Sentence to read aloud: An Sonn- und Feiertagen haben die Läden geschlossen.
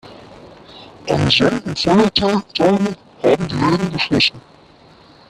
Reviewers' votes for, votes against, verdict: 0, 2, rejected